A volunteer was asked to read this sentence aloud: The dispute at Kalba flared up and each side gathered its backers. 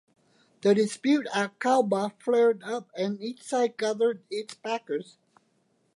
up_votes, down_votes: 2, 0